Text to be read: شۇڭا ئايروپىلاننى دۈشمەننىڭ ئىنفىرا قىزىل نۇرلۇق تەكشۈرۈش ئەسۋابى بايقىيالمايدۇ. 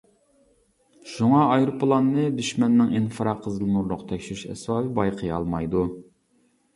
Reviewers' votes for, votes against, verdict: 2, 0, accepted